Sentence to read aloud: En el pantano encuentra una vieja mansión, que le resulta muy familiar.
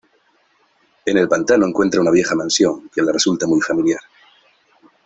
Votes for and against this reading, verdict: 2, 1, accepted